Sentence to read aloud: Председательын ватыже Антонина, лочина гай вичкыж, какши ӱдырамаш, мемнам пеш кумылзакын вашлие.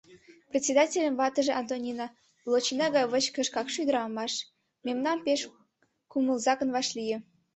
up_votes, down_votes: 2, 1